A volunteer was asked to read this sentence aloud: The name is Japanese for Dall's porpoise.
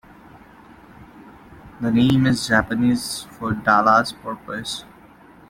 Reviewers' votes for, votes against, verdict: 1, 2, rejected